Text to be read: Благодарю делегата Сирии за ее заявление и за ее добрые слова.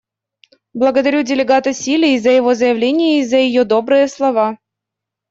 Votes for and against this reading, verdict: 0, 2, rejected